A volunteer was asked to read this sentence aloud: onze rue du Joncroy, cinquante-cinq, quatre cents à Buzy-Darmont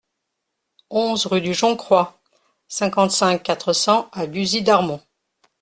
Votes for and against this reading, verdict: 2, 0, accepted